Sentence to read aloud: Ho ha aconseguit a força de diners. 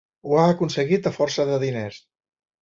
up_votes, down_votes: 2, 0